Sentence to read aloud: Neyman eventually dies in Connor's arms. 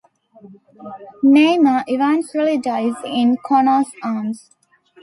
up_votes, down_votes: 2, 1